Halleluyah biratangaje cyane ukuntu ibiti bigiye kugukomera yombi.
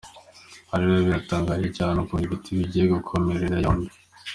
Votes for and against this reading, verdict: 1, 2, rejected